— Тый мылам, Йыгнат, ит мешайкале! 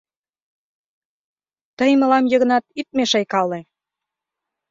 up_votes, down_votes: 2, 0